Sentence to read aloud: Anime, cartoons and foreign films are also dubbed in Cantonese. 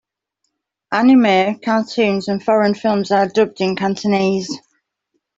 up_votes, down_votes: 0, 2